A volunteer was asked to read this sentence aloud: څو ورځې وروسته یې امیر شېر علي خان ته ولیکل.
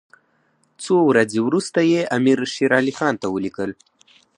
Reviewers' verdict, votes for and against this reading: accepted, 4, 0